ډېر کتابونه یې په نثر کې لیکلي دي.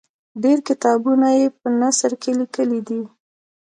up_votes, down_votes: 1, 2